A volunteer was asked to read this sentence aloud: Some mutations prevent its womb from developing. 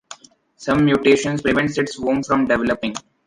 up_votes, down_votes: 2, 0